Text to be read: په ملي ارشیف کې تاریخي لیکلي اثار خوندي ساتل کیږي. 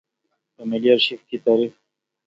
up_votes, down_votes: 1, 2